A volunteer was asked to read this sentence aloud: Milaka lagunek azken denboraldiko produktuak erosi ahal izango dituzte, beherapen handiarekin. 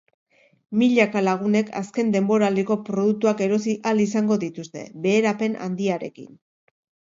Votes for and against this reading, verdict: 3, 0, accepted